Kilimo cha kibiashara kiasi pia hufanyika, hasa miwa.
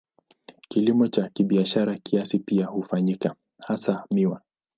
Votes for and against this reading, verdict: 0, 2, rejected